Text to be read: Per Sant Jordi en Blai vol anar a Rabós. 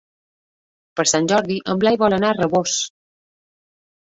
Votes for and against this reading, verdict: 3, 0, accepted